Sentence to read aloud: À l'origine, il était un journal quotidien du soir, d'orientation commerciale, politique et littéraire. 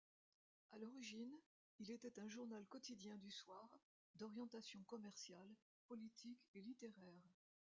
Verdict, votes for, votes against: accepted, 2, 1